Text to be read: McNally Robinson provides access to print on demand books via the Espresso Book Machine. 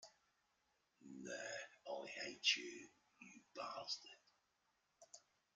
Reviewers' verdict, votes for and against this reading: rejected, 0, 2